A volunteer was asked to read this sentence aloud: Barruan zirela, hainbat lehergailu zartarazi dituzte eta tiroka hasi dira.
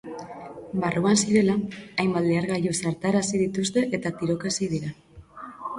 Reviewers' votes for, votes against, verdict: 4, 0, accepted